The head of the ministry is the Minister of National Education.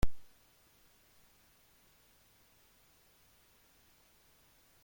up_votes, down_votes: 0, 2